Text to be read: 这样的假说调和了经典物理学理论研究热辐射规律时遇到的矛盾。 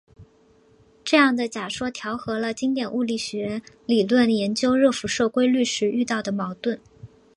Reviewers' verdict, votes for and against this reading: accepted, 4, 0